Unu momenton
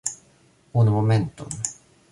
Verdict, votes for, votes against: rejected, 1, 2